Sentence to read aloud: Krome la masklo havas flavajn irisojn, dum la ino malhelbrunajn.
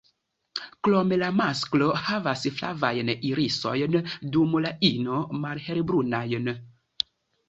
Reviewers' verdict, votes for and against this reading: accepted, 2, 1